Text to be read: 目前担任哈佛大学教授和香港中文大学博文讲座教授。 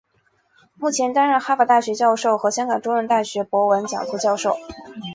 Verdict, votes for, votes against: accepted, 2, 1